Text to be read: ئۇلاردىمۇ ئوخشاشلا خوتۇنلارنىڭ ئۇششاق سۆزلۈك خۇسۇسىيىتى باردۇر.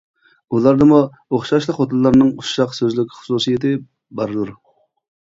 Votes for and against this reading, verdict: 2, 0, accepted